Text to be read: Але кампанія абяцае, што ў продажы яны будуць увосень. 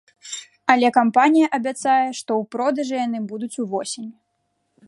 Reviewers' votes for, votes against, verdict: 1, 2, rejected